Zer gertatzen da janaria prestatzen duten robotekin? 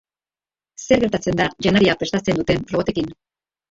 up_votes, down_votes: 0, 2